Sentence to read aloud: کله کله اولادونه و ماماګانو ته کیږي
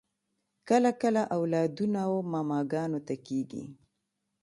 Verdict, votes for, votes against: accepted, 2, 0